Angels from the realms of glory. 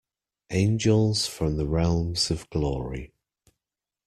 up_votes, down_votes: 2, 0